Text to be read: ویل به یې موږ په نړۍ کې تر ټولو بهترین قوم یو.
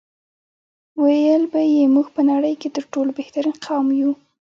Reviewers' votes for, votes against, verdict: 1, 2, rejected